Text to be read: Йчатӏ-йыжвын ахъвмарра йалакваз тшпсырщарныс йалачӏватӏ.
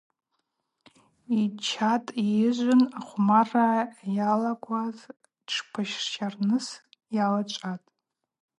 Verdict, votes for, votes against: accepted, 2, 0